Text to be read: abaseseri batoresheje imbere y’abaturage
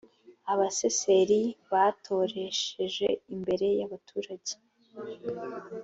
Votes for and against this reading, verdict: 2, 0, accepted